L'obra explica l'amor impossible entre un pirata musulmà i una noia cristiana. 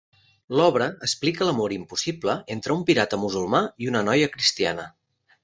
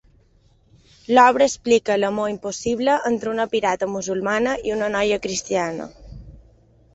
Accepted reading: first